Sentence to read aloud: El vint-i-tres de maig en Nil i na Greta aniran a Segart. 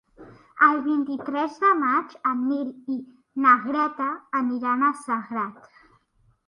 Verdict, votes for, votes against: accepted, 2, 0